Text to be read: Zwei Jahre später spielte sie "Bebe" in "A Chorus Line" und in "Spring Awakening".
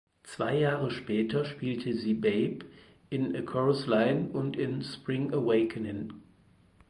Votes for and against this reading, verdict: 2, 4, rejected